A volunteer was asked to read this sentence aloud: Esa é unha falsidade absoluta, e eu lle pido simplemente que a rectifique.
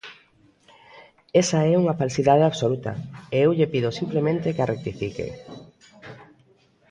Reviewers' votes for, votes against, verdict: 2, 0, accepted